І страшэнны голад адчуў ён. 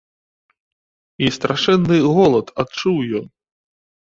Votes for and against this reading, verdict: 2, 0, accepted